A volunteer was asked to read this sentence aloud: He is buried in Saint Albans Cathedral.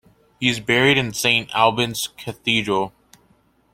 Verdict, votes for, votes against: accepted, 2, 0